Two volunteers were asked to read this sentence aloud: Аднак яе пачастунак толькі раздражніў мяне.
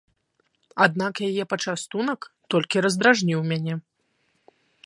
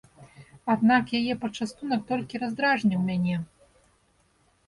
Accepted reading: first